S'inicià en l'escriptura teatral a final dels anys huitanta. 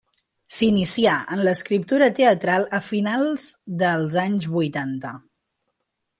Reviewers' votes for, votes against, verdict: 1, 2, rejected